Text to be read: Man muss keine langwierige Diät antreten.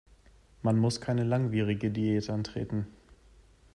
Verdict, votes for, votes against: accepted, 2, 0